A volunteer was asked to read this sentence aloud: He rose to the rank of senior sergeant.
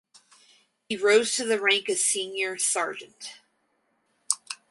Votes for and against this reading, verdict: 4, 0, accepted